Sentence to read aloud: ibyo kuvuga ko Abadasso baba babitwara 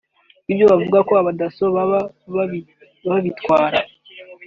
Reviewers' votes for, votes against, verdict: 1, 2, rejected